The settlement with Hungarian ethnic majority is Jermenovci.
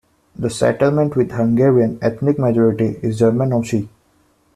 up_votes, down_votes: 2, 0